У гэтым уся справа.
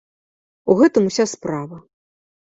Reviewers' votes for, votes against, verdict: 2, 0, accepted